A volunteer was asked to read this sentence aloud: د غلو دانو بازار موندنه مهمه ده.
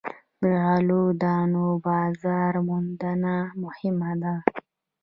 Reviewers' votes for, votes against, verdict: 1, 2, rejected